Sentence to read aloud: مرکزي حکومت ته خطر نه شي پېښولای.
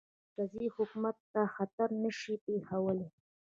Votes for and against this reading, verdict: 2, 1, accepted